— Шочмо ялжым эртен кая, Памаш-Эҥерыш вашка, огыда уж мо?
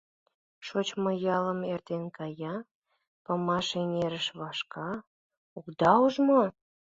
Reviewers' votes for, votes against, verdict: 1, 2, rejected